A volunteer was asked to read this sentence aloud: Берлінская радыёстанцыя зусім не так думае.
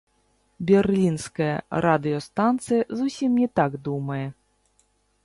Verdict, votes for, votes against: rejected, 0, 2